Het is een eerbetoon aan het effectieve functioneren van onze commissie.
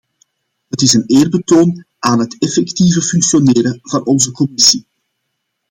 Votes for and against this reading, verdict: 2, 0, accepted